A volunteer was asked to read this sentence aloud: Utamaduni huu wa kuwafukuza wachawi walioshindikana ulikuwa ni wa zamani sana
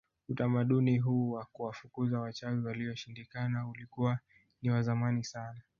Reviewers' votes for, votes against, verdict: 1, 2, rejected